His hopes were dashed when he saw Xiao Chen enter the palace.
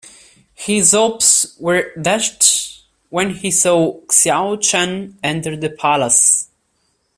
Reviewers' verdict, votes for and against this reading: rejected, 1, 2